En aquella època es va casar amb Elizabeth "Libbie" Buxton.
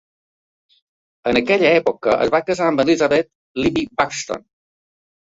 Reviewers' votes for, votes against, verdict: 2, 0, accepted